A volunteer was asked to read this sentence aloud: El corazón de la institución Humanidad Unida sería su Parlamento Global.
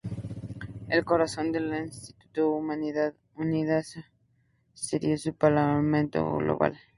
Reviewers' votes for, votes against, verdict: 0, 2, rejected